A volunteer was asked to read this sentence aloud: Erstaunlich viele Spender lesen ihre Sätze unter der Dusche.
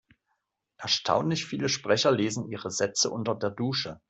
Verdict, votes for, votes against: rejected, 0, 2